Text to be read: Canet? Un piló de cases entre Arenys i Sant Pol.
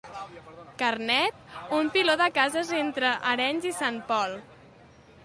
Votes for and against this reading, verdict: 0, 2, rejected